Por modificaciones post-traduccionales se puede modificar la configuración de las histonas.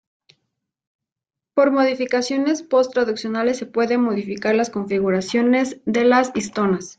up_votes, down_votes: 1, 2